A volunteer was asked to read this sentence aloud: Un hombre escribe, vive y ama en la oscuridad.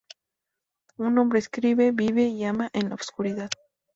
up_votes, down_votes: 0, 2